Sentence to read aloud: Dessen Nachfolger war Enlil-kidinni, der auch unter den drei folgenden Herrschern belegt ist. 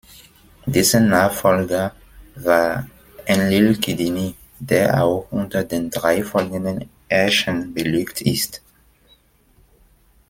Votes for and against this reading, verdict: 2, 0, accepted